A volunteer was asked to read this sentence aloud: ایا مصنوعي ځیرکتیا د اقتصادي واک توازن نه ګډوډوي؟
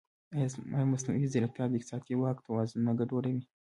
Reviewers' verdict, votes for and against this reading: accepted, 2, 0